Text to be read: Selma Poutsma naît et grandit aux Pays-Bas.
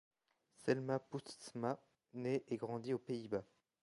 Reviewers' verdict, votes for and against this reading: accepted, 2, 1